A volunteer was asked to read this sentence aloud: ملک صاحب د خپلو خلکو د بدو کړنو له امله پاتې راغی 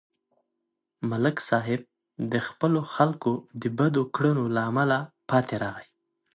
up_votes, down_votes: 2, 0